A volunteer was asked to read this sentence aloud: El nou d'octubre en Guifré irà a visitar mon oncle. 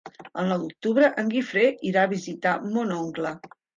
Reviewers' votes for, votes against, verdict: 3, 0, accepted